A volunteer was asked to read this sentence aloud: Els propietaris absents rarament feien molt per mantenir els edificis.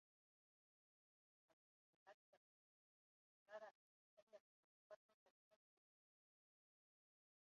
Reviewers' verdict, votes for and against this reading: rejected, 0, 2